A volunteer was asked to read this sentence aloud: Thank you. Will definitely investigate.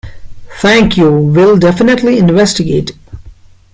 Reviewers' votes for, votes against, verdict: 2, 0, accepted